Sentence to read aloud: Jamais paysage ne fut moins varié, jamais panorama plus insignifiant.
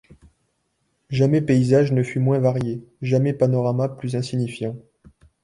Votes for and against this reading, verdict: 2, 0, accepted